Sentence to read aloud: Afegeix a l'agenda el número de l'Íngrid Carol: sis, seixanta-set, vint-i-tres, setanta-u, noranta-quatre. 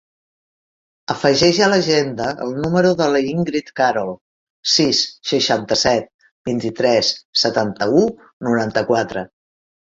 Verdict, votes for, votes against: rejected, 1, 2